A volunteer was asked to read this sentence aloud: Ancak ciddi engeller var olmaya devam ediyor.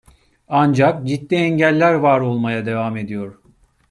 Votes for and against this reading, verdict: 2, 0, accepted